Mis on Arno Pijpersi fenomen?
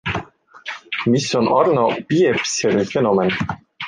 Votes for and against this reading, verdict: 2, 0, accepted